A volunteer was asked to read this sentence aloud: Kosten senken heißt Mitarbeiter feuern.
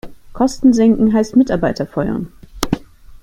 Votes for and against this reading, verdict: 2, 0, accepted